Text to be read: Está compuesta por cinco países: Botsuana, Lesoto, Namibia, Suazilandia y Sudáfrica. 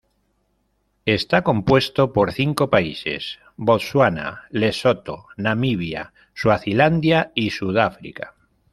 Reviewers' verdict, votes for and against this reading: rejected, 1, 2